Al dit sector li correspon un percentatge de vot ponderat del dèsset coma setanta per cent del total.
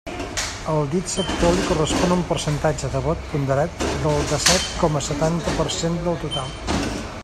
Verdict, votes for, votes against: rejected, 1, 2